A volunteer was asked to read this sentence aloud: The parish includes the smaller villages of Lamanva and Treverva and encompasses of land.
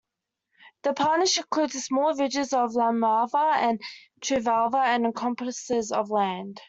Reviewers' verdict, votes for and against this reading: rejected, 1, 3